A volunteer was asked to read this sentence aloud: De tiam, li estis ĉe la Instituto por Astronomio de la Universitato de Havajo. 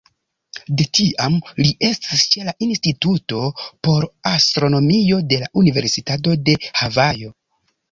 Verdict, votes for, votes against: accepted, 2, 1